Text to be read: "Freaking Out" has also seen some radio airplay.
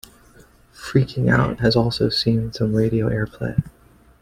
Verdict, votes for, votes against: accepted, 2, 0